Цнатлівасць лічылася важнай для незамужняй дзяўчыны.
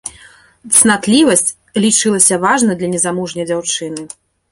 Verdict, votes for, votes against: accepted, 3, 0